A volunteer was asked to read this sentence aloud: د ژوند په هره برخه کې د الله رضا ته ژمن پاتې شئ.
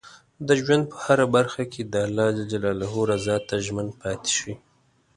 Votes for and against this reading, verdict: 2, 0, accepted